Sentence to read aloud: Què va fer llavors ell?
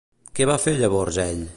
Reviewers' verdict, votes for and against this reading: accepted, 2, 0